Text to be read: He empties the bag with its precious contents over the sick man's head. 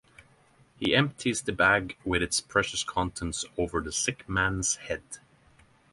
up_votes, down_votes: 6, 0